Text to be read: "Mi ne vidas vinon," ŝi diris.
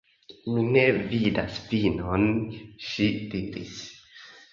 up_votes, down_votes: 2, 1